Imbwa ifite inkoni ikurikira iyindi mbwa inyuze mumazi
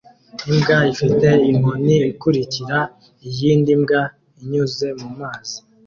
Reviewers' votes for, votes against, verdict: 2, 0, accepted